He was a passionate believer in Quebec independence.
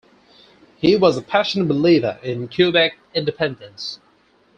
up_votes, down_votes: 4, 2